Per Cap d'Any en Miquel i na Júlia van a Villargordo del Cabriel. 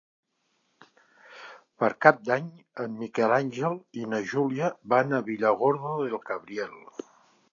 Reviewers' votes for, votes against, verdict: 0, 3, rejected